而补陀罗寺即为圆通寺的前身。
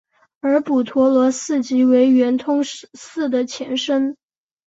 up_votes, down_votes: 4, 0